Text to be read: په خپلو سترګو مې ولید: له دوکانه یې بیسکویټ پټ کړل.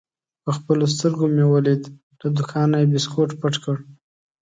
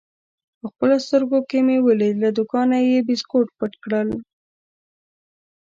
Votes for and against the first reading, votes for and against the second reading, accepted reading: 2, 0, 1, 2, first